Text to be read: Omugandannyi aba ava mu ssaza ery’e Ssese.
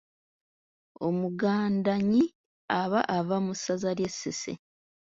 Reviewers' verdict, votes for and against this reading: accepted, 2, 0